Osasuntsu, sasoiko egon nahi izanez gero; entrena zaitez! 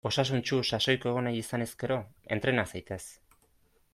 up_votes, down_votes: 2, 0